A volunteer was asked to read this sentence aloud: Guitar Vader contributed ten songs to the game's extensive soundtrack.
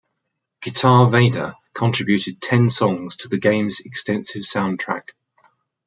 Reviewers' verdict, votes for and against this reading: accepted, 2, 0